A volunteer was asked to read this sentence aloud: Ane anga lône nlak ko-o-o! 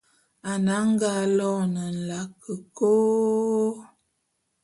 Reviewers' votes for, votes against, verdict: 0, 2, rejected